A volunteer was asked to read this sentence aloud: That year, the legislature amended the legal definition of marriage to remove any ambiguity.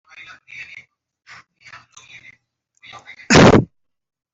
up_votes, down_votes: 0, 2